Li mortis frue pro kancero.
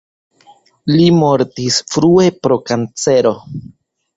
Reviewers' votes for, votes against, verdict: 2, 0, accepted